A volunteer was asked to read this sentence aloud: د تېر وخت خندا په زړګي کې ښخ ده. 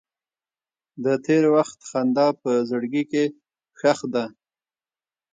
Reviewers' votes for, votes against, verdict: 1, 2, rejected